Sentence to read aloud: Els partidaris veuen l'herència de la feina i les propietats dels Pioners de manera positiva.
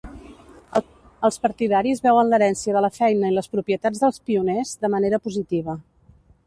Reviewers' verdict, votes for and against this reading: rejected, 1, 2